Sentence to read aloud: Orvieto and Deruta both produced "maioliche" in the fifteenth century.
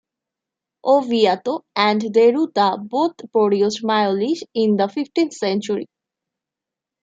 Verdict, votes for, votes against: rejected, 0, 3